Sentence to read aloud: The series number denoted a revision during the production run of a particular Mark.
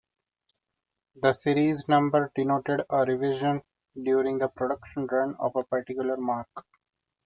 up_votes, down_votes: 2, 1